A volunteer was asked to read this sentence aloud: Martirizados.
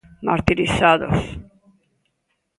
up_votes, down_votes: 2, 0